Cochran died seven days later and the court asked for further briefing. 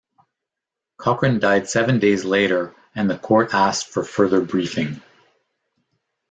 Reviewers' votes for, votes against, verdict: 2, 0, accepted